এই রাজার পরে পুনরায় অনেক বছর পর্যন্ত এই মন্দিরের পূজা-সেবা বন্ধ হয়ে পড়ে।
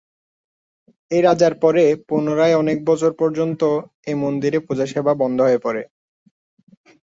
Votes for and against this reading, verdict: 1, 2, rejected